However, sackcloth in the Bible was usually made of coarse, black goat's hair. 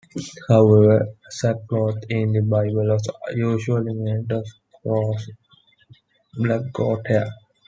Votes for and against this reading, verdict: 0, 2, rejected